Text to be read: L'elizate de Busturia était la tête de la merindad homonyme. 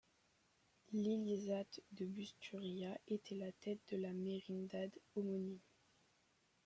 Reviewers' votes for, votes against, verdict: 0, 2, rejected